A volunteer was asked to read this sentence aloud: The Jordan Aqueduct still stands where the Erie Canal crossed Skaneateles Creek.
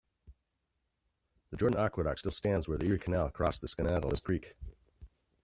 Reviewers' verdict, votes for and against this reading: accepted, 2, 0